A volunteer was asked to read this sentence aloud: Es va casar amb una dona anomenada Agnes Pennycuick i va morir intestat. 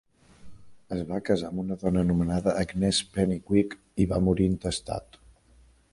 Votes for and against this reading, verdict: 1, 2, rejected